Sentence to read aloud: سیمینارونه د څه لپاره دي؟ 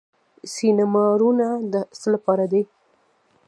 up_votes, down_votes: 1, 2